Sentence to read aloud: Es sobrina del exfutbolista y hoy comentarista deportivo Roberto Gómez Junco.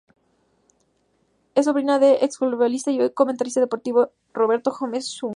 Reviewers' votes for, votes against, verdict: 4, 2, accepted